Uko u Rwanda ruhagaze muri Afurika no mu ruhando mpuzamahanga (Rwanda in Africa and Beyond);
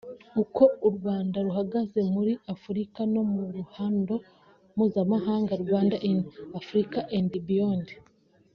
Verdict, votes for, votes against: accepted, 2, 0